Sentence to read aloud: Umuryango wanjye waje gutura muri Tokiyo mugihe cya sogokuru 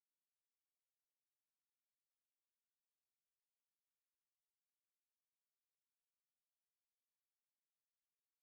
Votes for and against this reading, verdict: 2, 1, accepted